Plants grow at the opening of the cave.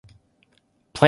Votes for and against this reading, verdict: 0, 2, rejected